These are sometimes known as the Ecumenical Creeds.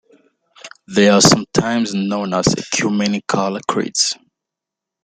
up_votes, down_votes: 0, 2